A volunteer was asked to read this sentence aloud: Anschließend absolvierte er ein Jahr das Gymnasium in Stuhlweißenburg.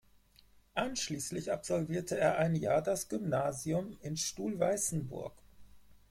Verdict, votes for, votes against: rejected, 2, 4